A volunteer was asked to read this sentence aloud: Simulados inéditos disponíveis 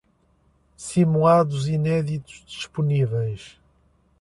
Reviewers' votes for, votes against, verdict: 2, 0, accepted